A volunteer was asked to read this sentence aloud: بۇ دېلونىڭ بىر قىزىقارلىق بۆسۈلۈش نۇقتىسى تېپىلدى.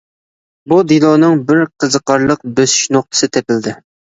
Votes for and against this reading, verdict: 2, 0, accepted